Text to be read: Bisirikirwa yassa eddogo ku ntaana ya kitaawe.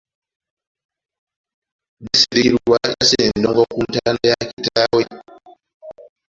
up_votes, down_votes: 0, 2